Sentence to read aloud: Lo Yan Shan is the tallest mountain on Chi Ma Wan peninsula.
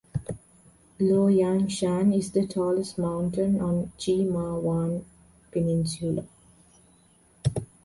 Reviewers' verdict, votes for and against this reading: accepted, 2, 0